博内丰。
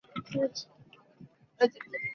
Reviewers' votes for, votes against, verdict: 0, 2, rejected